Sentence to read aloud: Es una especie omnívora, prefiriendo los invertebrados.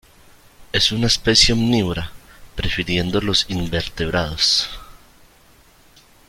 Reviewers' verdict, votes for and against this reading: accepted, 2, 0